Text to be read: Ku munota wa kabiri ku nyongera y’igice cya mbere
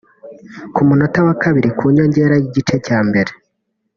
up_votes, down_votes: 2, 1